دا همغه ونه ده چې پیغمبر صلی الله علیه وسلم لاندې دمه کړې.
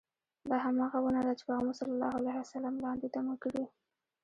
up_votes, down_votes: 0, 2